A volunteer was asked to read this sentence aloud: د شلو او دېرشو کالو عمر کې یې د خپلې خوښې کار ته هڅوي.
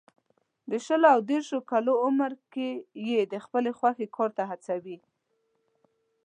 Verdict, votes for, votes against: accepted, 2, 0